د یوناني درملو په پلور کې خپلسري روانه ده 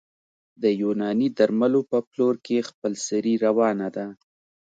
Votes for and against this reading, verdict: 2, 0, accepted